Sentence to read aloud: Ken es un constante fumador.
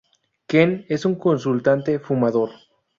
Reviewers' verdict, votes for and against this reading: rejected, 0, 2